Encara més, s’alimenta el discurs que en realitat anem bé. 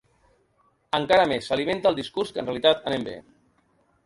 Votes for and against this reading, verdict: 1, 2, rejected